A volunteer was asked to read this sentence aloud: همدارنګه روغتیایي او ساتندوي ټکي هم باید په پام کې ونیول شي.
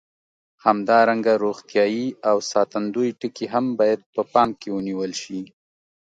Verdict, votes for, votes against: accepted, 2, 0